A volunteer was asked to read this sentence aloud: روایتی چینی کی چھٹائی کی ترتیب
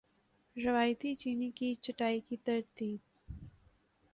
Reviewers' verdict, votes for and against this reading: accepted, 4, 0